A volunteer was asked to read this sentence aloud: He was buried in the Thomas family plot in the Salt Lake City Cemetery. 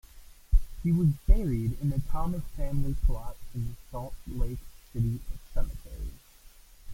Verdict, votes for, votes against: rejected, 0, 2